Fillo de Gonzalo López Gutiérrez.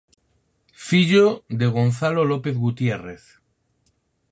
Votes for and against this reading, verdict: 4, 0, accepted